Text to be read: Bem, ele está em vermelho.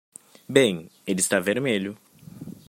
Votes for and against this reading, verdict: 0, 2, rejected